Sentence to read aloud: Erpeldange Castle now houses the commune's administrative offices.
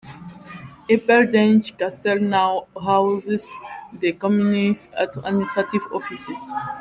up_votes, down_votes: 0, 2